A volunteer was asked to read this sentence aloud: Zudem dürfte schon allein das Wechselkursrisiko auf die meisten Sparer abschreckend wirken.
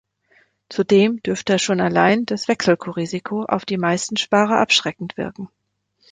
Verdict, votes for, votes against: rejected, 0, 2